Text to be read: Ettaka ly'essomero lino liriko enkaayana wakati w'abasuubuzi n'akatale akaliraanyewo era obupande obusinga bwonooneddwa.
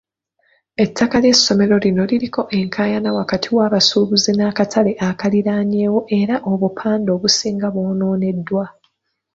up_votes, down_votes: 2, 0